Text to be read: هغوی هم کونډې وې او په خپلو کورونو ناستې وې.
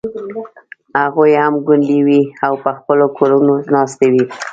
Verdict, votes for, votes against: rejected, 1, 2